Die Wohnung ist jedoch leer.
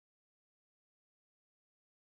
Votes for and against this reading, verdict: 0, 3, rejected